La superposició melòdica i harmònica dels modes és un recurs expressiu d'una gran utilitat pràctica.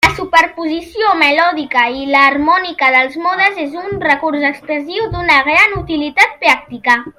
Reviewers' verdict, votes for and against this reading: rejected, 0, 2